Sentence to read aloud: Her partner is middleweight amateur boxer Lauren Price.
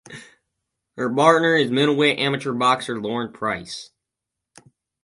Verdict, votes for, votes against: rejected, 0, 4